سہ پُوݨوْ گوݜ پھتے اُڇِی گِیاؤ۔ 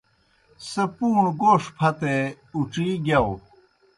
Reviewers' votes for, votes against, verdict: 2, 0, accepted